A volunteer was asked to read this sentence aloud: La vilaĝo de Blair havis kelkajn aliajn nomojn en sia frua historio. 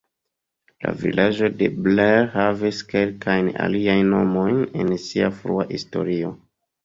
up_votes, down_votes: 3, 1